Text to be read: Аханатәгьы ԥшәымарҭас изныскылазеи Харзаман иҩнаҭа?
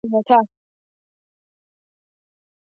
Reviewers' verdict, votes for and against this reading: rejected, 0, 2